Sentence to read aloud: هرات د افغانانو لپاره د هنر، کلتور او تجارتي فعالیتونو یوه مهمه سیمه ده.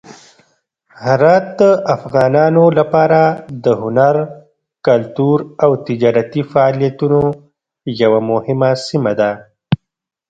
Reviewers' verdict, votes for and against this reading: rejected, 0, 2